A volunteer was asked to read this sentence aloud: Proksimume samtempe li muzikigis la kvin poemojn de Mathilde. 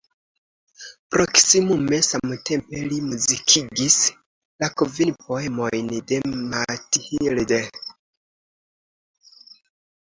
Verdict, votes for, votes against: rejected, 1, 2